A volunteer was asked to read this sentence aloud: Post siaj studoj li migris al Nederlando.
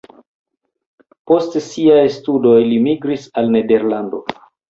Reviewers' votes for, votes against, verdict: 3, 0, accepted